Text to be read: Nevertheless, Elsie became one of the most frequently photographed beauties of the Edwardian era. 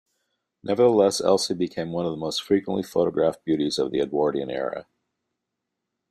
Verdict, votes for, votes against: accepted, 2, 0